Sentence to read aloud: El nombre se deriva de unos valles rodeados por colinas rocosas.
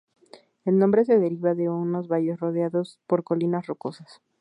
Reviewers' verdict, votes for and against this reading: accepted, 4, 2